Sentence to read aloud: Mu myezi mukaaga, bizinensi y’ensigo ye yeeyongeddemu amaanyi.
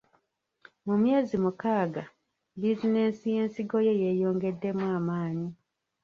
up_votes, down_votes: 0, 2